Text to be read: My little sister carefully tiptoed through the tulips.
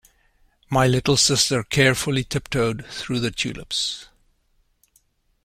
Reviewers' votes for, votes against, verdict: 2, 0, accepted